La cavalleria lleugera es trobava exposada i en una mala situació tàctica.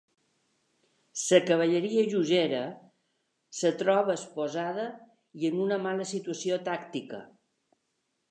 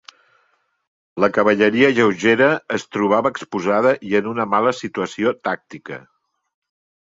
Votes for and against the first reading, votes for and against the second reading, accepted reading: 0, 2, 3, 0, second